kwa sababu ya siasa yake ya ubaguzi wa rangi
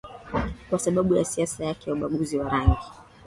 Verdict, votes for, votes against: accepted, 7, 0